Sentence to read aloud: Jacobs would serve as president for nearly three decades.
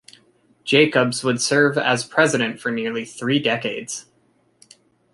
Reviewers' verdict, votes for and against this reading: accepted, 2, 0